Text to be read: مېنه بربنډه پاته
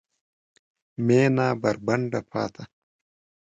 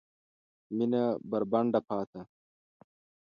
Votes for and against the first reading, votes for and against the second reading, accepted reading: 1, 2, 2, 0, second